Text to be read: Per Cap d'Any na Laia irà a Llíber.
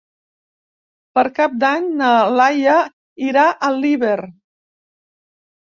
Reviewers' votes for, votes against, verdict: 0, 2, rejected